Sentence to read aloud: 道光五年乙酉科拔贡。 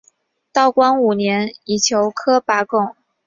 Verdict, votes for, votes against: rejected, 2, 2